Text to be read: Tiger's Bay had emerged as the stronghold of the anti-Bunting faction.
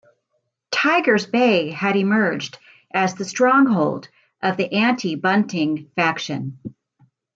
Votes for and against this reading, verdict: 2, 0, accepted